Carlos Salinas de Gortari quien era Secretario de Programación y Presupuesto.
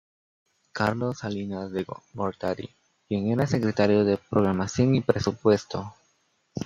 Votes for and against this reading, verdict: 0, 2, rejected